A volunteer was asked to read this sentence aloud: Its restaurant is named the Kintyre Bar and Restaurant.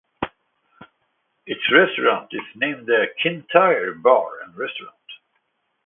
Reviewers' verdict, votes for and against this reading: accepted, 2, 0